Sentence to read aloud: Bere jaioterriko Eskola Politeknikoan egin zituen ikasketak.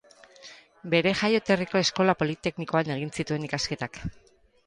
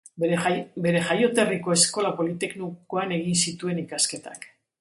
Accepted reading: first